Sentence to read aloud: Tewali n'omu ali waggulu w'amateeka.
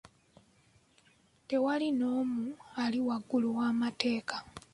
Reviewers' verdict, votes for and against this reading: accepted, 2, 0